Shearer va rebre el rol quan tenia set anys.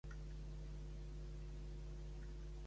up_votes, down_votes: 1, 2